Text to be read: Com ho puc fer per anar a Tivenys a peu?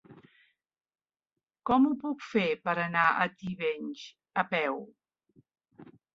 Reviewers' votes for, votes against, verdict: 3, 0, accepted